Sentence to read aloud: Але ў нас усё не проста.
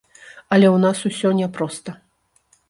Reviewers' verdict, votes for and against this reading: rejected, 0, 2